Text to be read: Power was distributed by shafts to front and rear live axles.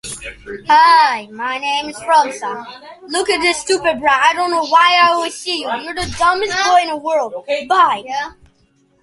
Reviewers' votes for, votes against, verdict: 0, 2, rejected